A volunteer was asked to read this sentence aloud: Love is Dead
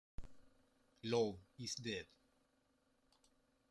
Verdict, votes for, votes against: rejected, 0, 2